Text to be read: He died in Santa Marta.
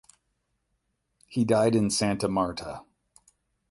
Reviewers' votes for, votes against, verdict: 12, 0, accepted